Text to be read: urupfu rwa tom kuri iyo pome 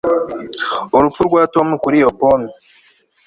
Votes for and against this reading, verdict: 3, 0, accepted